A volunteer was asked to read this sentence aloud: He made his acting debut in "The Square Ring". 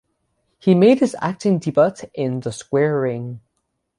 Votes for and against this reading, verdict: 0, 3, rejected